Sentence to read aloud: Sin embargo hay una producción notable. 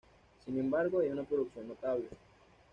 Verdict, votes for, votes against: accepted, 2, 0